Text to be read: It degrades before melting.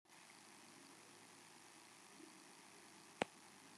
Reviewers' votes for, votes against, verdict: 0, 2, rejected